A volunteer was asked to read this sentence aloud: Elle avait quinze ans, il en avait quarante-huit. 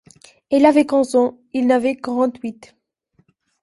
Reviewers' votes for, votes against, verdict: 0, 2, rejected